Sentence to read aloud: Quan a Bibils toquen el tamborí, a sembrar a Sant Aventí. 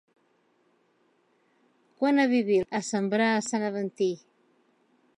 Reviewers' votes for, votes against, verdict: 0, 2, rejected